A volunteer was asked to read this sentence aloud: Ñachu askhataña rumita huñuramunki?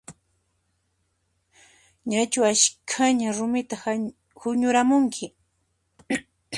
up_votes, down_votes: 0, 2